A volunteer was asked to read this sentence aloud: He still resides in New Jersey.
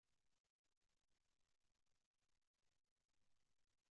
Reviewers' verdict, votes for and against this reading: rejected, 0, 2